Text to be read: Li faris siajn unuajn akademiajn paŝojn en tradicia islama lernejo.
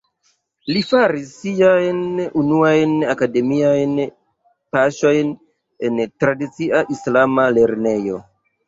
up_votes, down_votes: 0, 2